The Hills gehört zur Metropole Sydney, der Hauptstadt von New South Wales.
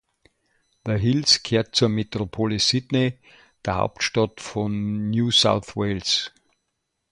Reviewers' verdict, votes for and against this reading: accepted, 2, 0